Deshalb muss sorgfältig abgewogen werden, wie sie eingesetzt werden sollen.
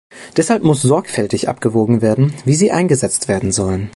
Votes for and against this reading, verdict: 2, 0, accepted